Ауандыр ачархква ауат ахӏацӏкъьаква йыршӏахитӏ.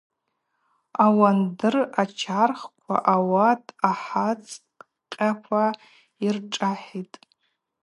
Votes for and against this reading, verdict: 0, 4, rejected